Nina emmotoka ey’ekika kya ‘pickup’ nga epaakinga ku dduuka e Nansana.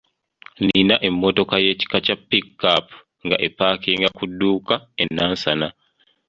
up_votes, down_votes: 2, 0